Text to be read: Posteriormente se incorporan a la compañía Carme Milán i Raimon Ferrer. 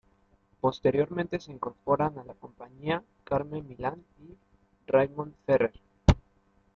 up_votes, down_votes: 1, 2